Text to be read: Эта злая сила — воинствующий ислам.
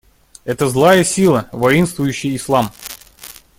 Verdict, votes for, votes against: accepted, 2, 0